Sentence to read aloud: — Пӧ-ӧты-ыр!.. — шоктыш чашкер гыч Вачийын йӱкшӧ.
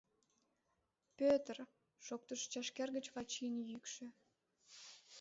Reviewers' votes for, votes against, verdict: 2, 0, accepted